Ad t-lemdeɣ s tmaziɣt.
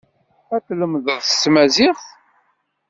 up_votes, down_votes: 1, 2